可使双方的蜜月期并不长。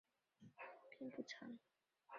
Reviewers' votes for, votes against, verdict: 0, 2, rejected